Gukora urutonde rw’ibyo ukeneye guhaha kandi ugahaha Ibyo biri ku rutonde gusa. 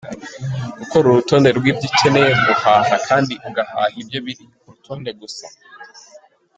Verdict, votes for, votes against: rejected, 1, 3